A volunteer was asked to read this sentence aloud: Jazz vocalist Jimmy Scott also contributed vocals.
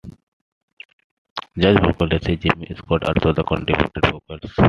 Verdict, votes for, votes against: rejected, 0, 2